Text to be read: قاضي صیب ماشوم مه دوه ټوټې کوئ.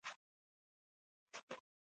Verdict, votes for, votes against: rejected, 1, 2